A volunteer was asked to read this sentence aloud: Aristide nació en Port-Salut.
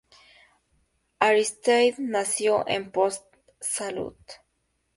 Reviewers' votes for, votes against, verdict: 2, 0, accepted